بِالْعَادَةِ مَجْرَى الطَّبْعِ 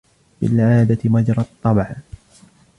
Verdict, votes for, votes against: accepted, 2, 0